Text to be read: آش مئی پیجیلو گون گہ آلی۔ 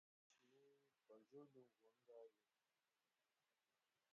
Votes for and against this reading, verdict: 0, 2, rejected